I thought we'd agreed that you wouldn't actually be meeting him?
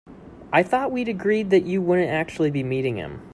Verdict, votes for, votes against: accepted, 2, 0